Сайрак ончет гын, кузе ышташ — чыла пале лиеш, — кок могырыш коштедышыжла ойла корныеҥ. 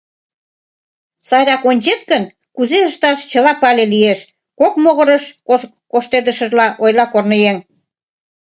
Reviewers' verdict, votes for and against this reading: rejected, 0, 3